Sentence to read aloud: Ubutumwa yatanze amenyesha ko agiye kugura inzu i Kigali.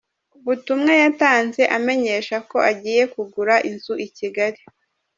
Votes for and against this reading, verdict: 2, 0, accepted